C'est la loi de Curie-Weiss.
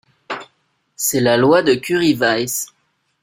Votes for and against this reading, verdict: 2, 0, accepted